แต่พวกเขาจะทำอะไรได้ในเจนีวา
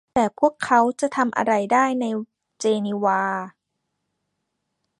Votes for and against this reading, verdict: 2, 1, accepted